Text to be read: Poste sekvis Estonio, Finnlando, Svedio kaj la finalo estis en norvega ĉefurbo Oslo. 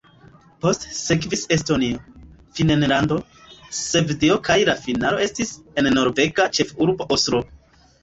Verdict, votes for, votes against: rejected, 1, 2